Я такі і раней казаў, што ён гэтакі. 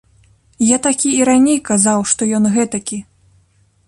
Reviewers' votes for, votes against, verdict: 2, 0, accepted